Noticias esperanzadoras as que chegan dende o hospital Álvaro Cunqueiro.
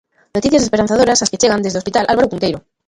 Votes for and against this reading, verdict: 0, 2, rejected